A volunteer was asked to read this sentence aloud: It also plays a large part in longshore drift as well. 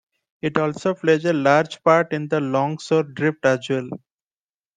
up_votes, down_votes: 0, 2